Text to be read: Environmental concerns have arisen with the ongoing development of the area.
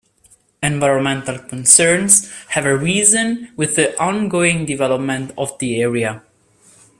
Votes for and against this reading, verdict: 2, 0, accepted